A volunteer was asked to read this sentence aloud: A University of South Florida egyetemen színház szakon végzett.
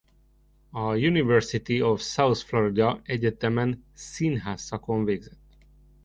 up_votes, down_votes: 2, 0